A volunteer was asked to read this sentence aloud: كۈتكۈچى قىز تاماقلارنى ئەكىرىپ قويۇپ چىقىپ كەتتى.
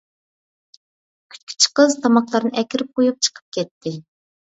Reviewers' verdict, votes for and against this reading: accepted, 2, 0